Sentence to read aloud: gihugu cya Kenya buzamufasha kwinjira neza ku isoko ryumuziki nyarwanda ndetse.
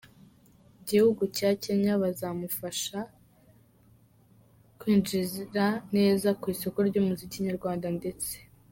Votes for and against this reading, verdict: 1, 3, rejected